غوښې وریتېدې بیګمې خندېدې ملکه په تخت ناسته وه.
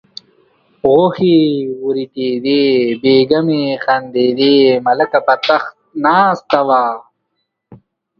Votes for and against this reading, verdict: 2, 0, accepted